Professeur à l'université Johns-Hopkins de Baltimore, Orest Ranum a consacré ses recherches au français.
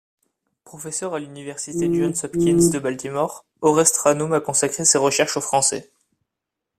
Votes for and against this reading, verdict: 1, 2, rejected